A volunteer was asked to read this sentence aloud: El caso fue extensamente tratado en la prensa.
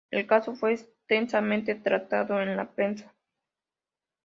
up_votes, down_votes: 2, 0